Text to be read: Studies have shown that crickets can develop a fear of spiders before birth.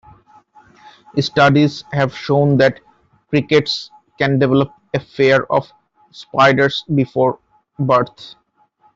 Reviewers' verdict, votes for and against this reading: accepted, 2, 0